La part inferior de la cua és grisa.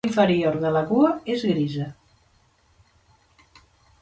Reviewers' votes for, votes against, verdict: 1, 2, rejected